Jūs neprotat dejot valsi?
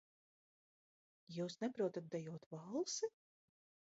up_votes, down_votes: 1, 2